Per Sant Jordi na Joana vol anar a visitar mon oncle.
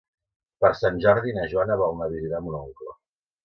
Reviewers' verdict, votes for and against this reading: accepted, 2, 1